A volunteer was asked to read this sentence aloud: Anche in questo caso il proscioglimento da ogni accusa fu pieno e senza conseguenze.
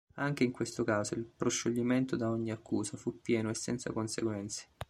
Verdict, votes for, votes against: accepted, 2, 0